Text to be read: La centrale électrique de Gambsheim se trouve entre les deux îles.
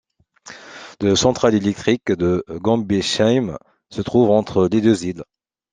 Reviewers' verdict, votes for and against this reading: accepted, 2, 1